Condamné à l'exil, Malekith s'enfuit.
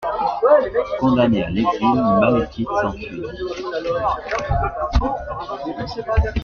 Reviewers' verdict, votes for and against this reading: accepted, 2, 0